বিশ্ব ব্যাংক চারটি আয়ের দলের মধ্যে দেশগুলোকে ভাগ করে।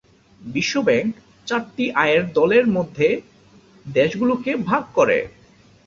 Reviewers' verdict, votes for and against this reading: accepted, 2, 0